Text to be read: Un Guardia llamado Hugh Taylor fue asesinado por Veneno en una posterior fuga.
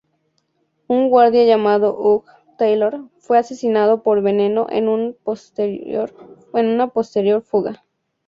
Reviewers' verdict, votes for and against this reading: rejected, 0, 2